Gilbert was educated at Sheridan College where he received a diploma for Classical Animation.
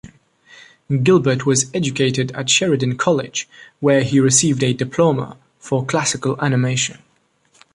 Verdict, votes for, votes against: accepted, 2, 0